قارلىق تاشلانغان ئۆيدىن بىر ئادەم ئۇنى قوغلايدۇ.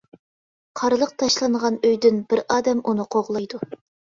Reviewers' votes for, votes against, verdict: 2, 0, accepted